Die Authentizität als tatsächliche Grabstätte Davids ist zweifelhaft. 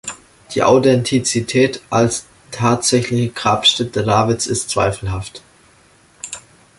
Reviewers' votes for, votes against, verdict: 2, 0, accepted